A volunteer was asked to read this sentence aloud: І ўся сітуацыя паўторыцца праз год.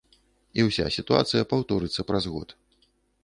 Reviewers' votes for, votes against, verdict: 2, 0, accepted